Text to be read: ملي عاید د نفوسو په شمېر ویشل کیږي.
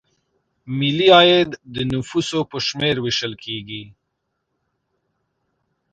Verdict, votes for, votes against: accepted, 2, 0